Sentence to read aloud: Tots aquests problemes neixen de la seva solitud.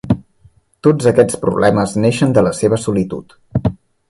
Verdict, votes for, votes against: accepted, 3, 0